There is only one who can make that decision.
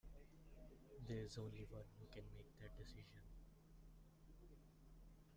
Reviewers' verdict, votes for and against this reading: rejected, 0, 2